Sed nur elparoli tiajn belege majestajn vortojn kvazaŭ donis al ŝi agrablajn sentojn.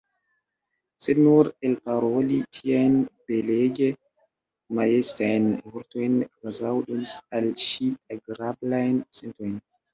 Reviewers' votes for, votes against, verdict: 0, 2, rejected